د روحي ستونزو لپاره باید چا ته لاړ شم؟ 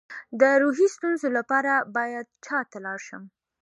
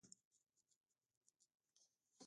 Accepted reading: first